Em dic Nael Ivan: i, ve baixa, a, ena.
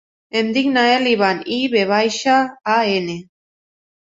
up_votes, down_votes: 0, 2